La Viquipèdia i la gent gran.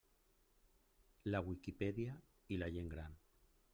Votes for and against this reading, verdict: 1, 2, rejected